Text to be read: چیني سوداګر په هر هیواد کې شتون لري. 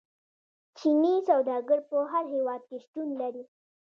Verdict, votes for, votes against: rejected, 0, 2